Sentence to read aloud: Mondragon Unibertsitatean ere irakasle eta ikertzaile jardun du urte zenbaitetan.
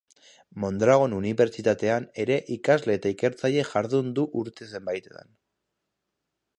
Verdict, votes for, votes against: accepted, 3, 2